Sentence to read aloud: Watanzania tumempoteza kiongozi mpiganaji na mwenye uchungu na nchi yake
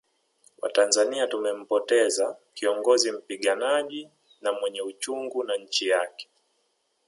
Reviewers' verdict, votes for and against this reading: rejected, 1, 2